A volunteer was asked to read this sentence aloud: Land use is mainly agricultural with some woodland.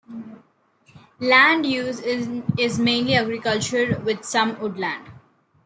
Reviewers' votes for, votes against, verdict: 2, 1, accepted